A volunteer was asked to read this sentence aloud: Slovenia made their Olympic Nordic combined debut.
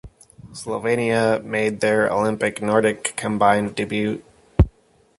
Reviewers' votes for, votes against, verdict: 2, 0, accepted